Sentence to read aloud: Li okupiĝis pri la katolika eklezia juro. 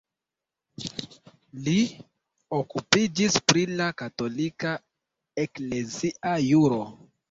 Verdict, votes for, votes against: accepted, 2, 1